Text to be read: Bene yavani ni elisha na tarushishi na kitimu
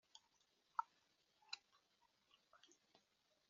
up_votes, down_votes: 0, 4